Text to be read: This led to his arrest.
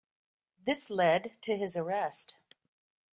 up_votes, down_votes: 2, 0